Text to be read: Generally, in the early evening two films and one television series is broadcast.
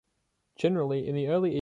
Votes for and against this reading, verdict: 1, 2, rejected